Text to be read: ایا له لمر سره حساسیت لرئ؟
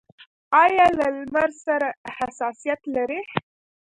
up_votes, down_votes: 2, 0